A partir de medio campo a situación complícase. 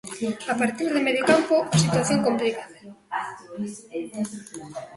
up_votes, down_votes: 0, 2